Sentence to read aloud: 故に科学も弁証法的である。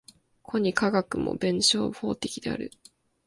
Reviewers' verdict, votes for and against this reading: rejected, 1, 2